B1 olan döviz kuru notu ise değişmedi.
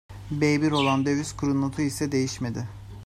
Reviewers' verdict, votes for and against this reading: rejected, 0, 2